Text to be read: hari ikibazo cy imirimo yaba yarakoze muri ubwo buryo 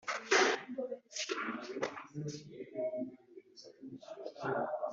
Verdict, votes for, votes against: rejected, 1, 2